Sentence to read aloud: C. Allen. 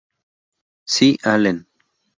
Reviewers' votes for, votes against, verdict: 0, 2, rejected